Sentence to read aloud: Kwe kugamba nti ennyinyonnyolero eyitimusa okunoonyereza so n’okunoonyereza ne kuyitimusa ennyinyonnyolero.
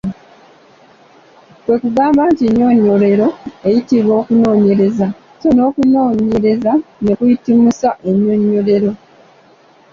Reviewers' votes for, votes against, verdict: 2, 1, accepted